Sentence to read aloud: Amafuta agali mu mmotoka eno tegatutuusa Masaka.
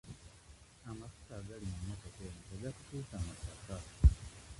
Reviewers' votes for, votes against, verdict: 0, 2, rejected